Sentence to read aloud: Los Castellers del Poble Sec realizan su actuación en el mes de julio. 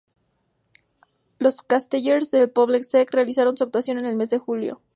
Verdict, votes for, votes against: accepted, 2, 0